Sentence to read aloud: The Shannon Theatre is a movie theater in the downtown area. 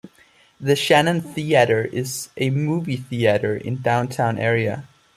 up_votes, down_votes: 1, 2